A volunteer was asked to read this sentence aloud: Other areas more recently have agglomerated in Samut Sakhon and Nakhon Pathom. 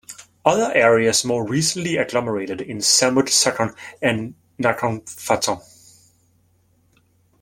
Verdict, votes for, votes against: rejected, 1, 2